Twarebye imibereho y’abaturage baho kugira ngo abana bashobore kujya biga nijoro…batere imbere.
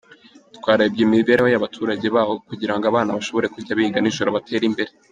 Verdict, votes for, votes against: rejected, 1, 2